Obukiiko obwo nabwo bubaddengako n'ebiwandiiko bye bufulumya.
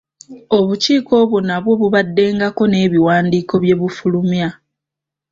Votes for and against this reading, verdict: 2, 0, accepted